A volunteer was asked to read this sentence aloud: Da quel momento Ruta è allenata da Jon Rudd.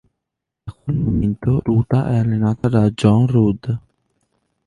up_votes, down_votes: 2, 1